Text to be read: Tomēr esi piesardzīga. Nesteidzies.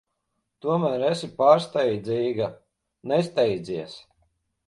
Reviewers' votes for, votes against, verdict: 0, 2, rejected